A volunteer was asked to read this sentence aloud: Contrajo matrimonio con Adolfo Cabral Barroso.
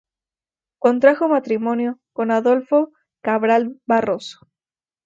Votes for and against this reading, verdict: 0, 2, rejected